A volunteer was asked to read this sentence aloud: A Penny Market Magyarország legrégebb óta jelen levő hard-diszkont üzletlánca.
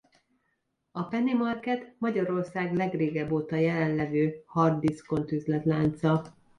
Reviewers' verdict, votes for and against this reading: accepted, 2, 0